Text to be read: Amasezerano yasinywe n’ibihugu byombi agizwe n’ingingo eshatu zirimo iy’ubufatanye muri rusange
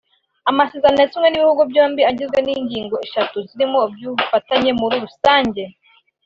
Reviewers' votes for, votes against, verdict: 2, 0, accepted